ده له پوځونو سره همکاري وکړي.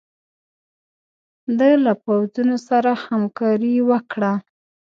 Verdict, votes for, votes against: rejected, 1, 2